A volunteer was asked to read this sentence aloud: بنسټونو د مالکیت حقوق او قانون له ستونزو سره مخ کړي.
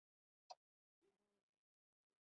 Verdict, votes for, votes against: rejected, 1, 2